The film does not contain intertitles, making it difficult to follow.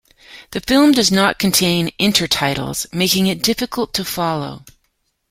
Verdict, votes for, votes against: accepted, 2, 0